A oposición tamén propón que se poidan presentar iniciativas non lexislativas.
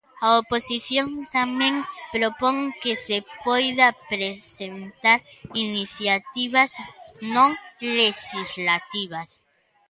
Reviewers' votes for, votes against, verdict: 0, 2, rejected